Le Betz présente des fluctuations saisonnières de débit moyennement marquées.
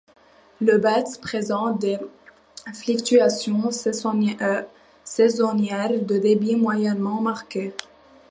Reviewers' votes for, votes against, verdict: 0, 2, rejected